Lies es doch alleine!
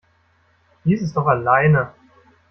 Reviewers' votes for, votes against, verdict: 1, 2, rejected